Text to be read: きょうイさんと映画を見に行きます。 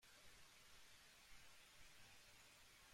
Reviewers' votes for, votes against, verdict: 0, 2, rejected